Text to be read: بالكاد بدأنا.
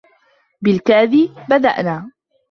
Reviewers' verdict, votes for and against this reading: accepted, 2, 1